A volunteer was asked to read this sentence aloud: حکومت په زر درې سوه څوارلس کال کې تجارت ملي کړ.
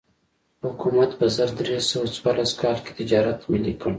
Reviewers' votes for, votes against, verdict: 2, 1, accepted